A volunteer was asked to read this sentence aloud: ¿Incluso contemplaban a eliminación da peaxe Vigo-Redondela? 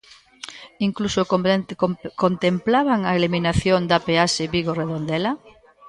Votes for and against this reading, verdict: 0, 2, rejected